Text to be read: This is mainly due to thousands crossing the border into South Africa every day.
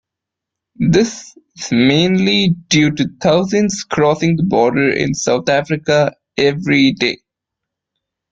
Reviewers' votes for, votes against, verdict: 0, 2, rejected